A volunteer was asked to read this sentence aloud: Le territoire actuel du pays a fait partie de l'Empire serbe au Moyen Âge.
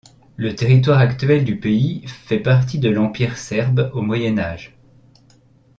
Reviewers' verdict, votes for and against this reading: rejected, 0, 2